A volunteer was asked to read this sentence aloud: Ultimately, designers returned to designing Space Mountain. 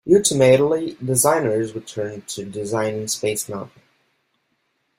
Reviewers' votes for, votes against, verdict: 0, 2, rejected